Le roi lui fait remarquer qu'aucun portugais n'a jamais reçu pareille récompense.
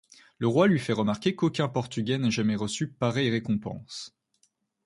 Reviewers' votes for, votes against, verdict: 2, 0, accepted